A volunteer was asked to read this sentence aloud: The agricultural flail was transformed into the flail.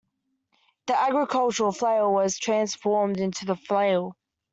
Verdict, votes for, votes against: accepted, 2, 0